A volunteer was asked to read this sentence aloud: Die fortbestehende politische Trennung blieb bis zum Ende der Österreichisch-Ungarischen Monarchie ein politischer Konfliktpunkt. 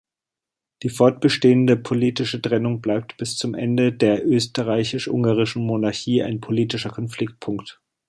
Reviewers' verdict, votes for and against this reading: rejected, 0, 3